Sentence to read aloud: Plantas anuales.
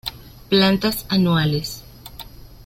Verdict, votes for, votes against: accepted, 2, 0